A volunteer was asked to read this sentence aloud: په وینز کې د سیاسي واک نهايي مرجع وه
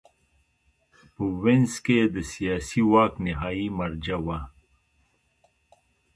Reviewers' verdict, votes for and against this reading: accepted, 2, 0